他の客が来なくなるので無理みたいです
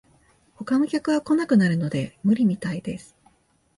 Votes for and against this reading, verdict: 2, 0, accepted